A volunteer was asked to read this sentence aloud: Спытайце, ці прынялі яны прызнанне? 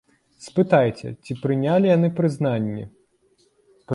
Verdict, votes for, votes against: accepted, 2, 1